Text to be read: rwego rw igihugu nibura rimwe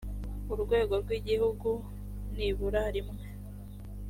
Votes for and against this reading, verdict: 4, 0, accepted